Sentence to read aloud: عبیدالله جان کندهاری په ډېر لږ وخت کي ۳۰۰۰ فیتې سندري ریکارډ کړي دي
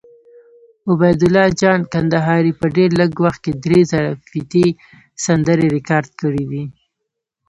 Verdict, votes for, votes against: rejected, 0, 2